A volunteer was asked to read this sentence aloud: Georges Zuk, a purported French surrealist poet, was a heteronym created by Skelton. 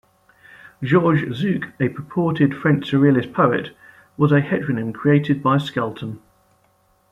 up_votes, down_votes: 2, 0